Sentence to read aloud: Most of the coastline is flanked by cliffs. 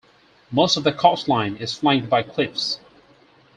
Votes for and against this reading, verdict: 4, 0, accepted